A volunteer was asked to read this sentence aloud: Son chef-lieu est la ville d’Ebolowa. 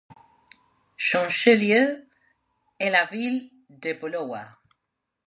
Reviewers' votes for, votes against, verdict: 0, 2, rejected